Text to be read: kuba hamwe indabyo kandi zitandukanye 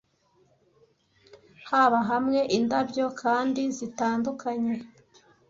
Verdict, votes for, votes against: rejected, 0, 2